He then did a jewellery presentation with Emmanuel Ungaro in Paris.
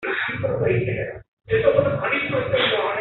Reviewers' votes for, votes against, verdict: 0, 2, rejected